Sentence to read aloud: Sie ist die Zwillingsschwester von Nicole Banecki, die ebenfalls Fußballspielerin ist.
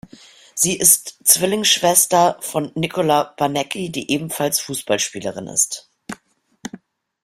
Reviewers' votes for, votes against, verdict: 0, 2, rejected